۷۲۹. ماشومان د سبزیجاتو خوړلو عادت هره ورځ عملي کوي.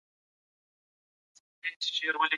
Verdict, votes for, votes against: rejected, 0, 2